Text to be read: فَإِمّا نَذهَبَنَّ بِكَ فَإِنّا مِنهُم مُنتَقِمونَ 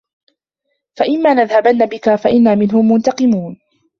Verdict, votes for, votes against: rejected, 0, 2